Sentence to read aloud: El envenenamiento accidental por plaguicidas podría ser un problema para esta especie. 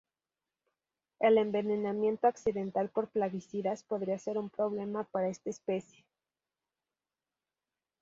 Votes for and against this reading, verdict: 0, 2, rejected